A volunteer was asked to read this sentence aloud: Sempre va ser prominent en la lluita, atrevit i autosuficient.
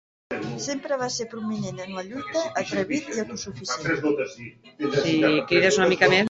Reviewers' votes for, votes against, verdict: 0, 2, rejected